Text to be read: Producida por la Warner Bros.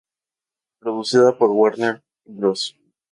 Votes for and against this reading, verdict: 2, 4, rejected